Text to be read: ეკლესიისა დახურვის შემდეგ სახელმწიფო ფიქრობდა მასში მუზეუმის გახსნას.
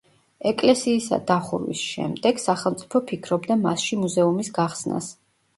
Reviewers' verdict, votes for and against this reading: rejected, 1, 2